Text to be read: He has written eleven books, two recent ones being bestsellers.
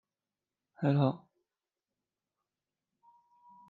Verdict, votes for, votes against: rejected, 0, 2